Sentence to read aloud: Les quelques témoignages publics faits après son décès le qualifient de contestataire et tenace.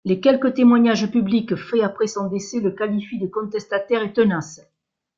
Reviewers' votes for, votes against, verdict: 2, 3, rejected